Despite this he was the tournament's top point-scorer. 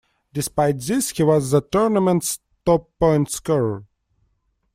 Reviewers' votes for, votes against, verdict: 1, 2, rejected